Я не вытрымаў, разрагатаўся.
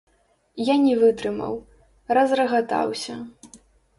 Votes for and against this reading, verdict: 0, 3, rejected